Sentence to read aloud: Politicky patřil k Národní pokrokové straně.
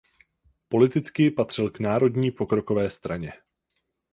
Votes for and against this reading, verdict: 4, 0, accepted